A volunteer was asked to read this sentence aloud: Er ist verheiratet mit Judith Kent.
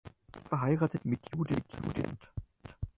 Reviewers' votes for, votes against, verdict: 0, 4, rejected